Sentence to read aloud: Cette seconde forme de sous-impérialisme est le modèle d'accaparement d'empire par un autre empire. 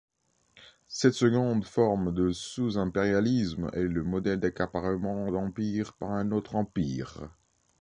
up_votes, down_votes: 2, 0